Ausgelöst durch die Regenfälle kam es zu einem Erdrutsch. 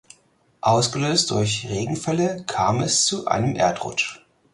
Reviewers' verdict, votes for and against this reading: rejected, 2, 4